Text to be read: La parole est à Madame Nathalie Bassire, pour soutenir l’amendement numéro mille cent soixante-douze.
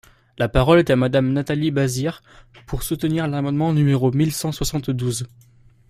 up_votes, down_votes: 0, 2